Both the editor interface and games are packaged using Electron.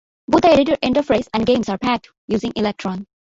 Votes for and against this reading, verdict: 0, 2, rejected